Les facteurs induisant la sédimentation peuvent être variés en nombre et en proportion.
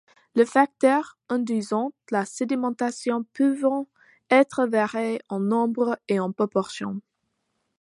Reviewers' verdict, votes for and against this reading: rejected, 0, 2